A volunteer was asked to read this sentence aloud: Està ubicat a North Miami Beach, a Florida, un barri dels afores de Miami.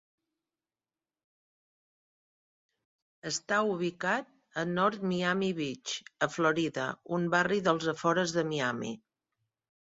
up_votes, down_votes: 3, 0